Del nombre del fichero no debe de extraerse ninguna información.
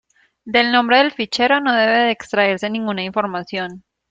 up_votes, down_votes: 0, 2